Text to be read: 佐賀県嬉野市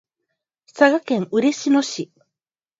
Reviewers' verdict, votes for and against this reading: rejected, 2, 2